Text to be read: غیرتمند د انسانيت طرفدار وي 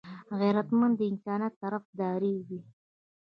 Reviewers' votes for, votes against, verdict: 1, 2, rejected